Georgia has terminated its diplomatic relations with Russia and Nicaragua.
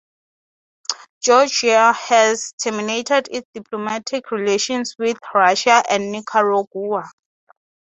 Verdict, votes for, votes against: accepted, 3, 0